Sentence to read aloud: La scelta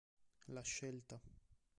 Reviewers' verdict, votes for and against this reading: accepted, 2, 0